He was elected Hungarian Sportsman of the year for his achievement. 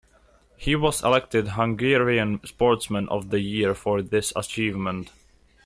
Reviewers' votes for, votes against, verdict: 0, 2, rejected